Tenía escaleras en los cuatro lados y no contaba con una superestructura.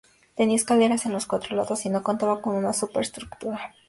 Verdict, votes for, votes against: accepted, 4, 0